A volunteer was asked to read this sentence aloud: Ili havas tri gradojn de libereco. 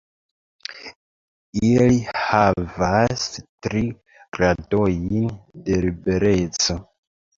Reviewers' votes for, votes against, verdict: 0, 2, rejected